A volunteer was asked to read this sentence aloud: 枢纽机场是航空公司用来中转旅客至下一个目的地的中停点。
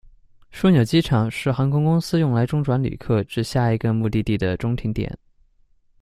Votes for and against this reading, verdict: 2, 0, accepted